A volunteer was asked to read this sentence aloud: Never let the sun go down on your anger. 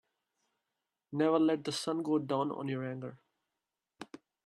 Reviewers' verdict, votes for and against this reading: accepted, 2, 1